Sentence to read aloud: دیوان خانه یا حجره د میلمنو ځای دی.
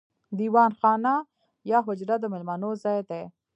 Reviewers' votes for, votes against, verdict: 2, 0, accepted